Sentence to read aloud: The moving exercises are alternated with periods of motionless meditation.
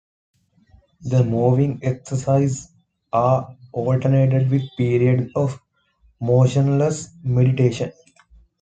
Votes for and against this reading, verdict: 2, 0, accepted